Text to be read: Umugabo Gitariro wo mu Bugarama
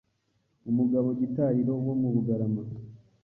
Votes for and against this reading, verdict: 2, 0, accepted